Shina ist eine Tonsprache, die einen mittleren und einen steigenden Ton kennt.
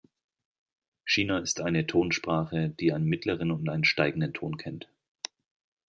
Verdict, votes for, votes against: rejected, 0, 2